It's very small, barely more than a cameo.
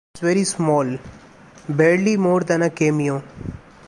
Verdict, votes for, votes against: rejected, 1, 2